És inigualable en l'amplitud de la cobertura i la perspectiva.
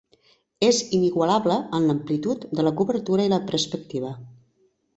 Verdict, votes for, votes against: accepted, 3, 0